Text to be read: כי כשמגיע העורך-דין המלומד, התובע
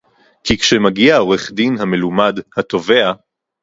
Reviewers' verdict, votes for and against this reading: accepted, 4, 0